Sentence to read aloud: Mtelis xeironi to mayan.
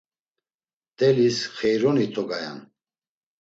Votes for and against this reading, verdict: 1, 2, rejected